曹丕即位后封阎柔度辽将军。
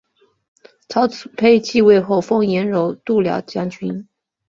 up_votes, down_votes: 4, 0